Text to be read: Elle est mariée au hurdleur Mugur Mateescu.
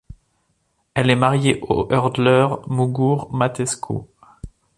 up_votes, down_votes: 2, 0